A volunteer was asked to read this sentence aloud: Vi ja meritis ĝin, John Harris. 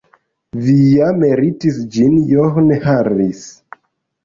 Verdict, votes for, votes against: rejected, 1, 2